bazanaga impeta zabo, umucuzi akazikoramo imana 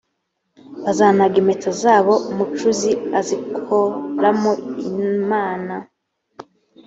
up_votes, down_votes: 0, 2